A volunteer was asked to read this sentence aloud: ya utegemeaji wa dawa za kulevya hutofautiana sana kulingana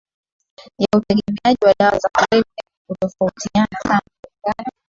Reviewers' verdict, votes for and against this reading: rejected, 0, 2